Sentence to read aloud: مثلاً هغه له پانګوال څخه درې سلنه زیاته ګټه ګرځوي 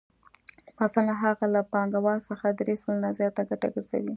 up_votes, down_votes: 2, 0